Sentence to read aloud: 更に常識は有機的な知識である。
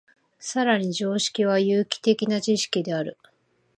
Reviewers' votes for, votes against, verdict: 2, 0, accepted